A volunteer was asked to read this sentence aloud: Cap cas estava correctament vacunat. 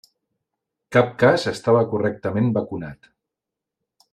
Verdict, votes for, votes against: accepted, 3, 0